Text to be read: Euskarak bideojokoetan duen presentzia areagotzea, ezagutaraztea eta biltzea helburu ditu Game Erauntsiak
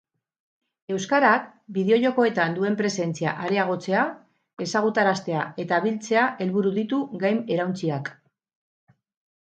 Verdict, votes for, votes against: rejected, 0, 2